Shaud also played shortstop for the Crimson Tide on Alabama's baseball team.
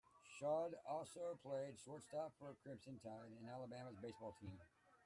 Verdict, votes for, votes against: rejected, 0, 2